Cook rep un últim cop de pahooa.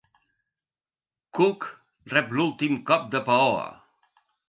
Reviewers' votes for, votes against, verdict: 0, 2, rejected